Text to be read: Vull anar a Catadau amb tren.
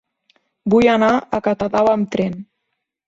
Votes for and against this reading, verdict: 2, 0, accepted